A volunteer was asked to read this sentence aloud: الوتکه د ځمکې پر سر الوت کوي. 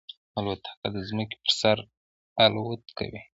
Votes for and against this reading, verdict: 3, 0, accepted